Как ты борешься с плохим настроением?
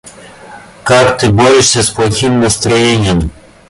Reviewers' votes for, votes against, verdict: 2, 1, accepted